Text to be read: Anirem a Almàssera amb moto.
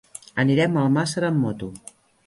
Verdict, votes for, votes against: accepted, 4, 0